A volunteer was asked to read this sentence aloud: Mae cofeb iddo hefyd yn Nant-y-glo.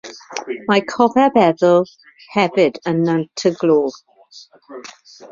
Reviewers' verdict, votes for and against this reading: rejected, 0, 2